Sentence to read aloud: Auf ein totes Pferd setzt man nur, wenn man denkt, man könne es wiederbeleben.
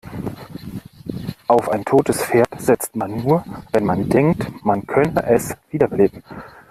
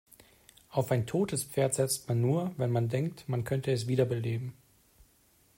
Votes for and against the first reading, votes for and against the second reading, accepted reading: 1, 2, 2, 1, second